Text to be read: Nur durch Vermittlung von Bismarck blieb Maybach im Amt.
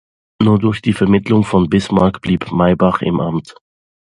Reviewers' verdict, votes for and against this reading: rejected, 0, 2